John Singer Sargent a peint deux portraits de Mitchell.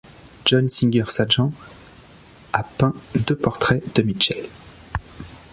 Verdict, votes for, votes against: rejected, 1, 2